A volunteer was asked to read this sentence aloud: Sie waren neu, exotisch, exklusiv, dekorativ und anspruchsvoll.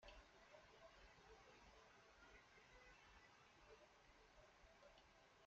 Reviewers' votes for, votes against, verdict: 0, 2, rejected